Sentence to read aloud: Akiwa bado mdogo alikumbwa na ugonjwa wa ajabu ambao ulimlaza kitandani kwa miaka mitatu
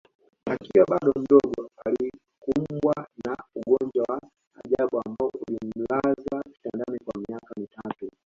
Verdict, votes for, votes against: rejected, 0, 2